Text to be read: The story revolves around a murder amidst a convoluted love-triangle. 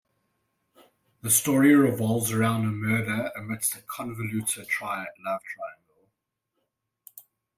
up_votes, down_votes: 0, 2